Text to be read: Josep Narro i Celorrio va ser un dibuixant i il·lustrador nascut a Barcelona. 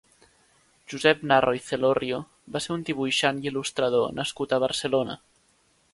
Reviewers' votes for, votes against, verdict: 2, 0, accepted